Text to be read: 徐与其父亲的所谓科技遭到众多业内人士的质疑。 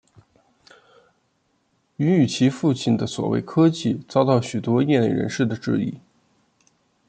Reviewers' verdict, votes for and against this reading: rejected, 0, 2